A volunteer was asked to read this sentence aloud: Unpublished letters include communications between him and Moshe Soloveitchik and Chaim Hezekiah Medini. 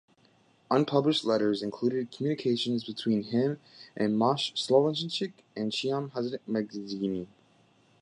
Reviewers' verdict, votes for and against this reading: rejected, 1, 2